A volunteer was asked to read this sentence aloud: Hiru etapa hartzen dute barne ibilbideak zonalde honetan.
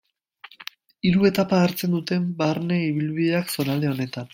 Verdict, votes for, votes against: rejected, 0, 2